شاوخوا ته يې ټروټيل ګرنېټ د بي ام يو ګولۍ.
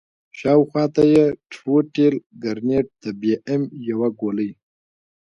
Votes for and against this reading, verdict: 1, 2, rejected